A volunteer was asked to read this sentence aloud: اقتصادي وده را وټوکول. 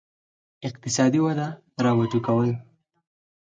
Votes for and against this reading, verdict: 4, 0, accepted